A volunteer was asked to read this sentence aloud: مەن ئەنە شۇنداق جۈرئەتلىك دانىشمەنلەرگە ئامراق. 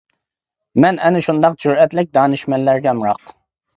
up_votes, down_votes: 2, 0